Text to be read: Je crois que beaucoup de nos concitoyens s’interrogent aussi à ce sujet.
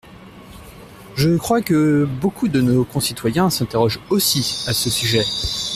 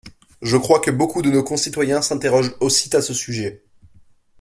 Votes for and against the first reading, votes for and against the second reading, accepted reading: 2, 0, 1, 2, first